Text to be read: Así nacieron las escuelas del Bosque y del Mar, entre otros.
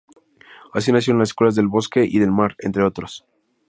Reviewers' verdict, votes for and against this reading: accepted, 2, 0